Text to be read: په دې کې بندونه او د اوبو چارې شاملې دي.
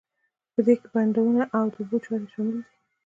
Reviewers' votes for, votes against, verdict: 2, 0, accepted